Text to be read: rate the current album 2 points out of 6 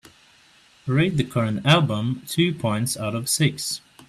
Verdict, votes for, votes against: rejected, 0, 2